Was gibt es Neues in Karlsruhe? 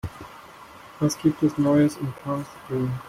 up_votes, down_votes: 0, 2